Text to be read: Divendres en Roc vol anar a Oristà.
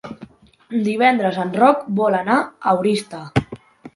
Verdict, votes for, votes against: accepted, 4, 2